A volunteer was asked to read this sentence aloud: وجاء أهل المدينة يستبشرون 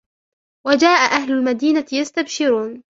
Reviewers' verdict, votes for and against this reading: rejected, 0, 2